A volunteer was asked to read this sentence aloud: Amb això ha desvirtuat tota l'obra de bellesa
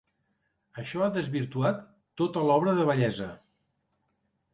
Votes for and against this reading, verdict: 2, 3, rejected